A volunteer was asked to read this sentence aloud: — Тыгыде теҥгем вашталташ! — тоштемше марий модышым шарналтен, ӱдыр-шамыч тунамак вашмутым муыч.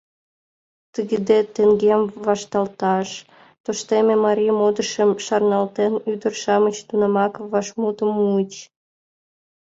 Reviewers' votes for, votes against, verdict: 1, 4, rejected